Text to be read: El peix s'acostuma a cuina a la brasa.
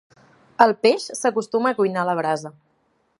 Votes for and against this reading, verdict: 1, 2, rejected